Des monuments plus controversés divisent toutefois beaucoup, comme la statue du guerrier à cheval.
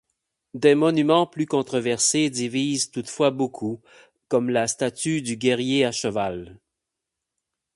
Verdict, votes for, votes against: accepted, 8, 0